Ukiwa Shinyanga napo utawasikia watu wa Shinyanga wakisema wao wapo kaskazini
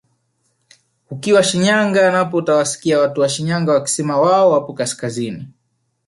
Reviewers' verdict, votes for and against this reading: accepted, 2, 1